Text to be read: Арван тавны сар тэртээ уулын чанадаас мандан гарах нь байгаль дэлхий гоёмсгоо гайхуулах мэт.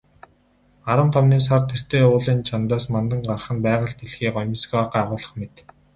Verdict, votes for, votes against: rejected, 2, 4